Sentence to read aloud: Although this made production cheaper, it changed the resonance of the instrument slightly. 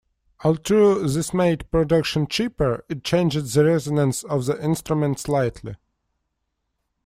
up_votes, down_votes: 0, 2